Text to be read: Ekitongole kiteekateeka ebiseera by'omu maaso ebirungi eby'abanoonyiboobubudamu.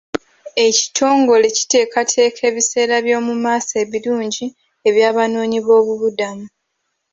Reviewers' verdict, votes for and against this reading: accepted, 2, 0